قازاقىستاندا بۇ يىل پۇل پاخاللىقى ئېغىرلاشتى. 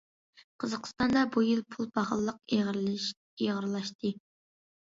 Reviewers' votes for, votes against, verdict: 0, 2, rejected